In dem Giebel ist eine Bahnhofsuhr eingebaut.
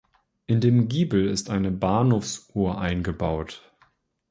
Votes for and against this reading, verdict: 2, 0, accepted